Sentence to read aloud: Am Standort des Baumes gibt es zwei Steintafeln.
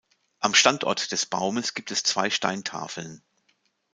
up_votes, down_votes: 2, 0